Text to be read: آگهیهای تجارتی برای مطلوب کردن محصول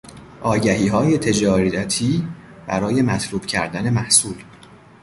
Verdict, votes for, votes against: rejected, 0, 2